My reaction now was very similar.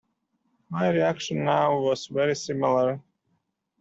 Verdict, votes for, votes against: accepted, 2, 0